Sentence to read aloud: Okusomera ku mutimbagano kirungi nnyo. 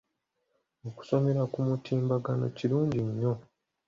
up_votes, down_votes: 2, 0